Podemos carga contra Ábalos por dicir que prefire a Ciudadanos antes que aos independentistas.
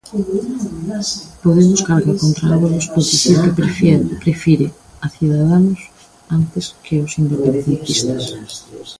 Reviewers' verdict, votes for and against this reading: rejected, 0, 2